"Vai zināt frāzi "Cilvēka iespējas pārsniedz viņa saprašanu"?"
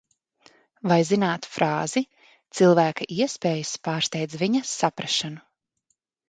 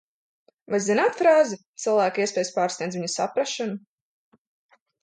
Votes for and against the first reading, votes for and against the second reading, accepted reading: 0, 2, 2, 0, second